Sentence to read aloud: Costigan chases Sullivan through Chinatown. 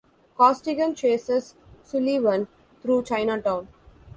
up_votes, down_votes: 0, 2